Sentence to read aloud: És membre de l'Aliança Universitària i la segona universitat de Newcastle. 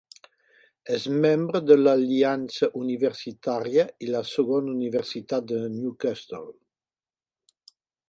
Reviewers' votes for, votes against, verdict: 2, 1, accepted